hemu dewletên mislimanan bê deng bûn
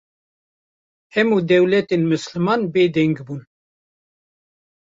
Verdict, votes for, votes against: rejected, 1, 2